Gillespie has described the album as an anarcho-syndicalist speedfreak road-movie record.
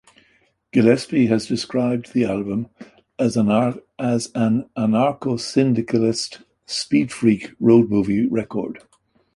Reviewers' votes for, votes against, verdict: 0, 2, rejected